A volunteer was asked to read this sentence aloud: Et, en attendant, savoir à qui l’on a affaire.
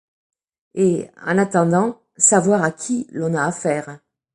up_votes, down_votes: 2, 0